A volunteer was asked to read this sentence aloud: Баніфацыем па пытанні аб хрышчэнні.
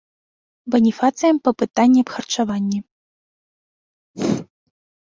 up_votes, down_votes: 0, 2